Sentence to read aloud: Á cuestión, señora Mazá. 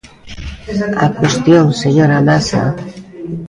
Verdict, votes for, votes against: rejected, 0, 2